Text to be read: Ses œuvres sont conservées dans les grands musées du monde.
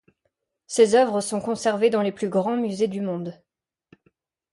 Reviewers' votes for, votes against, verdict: 1, 2, rejected